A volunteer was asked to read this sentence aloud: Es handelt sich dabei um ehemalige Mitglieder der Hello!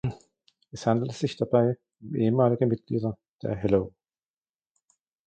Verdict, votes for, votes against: accepted, 2, 1